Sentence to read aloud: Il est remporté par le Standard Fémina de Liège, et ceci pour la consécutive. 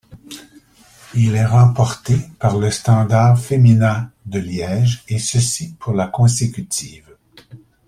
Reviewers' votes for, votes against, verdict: 2, 0, accepted